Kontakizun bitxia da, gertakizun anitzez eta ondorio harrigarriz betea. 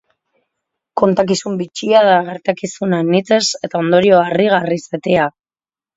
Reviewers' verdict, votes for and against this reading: accepted, 2, 0